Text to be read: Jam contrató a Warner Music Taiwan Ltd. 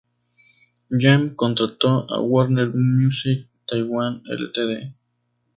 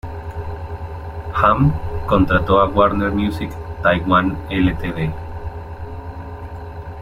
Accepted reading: first